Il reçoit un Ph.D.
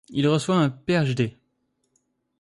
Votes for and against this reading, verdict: 1, 2, rejected